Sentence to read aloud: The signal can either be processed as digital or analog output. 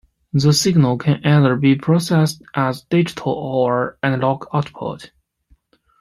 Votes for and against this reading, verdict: 2, 0, accepted